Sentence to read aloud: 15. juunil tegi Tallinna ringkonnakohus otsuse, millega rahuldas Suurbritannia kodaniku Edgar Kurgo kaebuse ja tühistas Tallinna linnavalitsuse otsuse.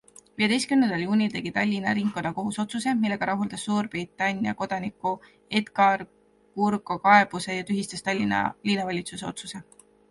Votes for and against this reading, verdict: 0, 2, rejected